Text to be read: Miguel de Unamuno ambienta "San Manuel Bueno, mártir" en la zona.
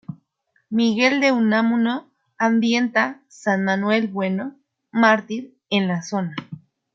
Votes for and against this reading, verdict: 2, 0, accepted